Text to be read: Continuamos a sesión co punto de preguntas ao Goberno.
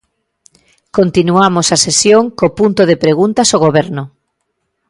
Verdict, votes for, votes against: accepted, 2, 0